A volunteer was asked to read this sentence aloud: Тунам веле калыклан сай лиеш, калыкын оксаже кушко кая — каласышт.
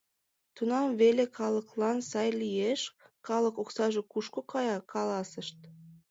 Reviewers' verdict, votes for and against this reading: rejected, 1, 2